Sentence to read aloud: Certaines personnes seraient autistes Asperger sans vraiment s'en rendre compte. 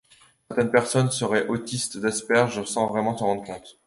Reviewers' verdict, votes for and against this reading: rejected, 1, 2